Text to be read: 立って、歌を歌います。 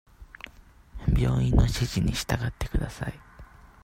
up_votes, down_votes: 0, 2